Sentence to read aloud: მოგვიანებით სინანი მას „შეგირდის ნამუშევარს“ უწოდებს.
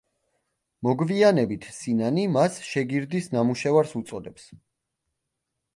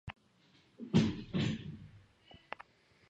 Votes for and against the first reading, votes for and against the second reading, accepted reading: 2, 0, 1, 2, first